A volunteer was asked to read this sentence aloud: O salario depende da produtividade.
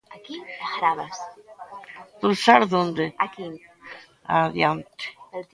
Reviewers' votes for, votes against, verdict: 0, 2, rejected